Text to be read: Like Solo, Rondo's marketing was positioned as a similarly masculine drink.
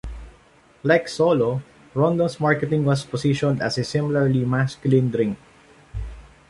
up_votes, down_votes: 2, 0